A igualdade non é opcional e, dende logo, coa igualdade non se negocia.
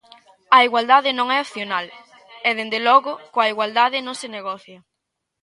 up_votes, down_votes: 1, 2